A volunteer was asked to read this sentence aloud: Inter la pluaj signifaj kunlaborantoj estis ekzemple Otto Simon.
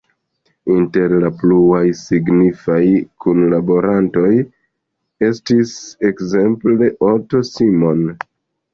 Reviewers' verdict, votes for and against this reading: rejected, 0, 2